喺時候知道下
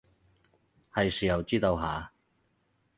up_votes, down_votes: 4, 0